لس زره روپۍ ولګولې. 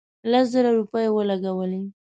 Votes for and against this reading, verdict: 2, 0, accepted